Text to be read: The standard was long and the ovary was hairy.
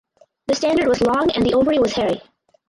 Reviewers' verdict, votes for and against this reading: rejected, 0, 4